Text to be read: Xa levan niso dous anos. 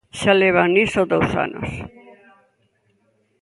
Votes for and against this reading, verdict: 2, 0, accepted